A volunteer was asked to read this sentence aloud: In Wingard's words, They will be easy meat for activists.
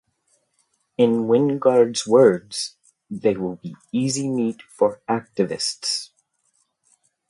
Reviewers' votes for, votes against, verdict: 2, 0, accepted